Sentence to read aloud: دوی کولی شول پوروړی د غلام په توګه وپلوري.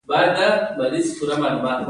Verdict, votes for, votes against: rejected, 0, 2